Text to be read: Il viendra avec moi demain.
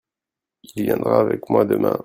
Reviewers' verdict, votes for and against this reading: rejected, 0, 2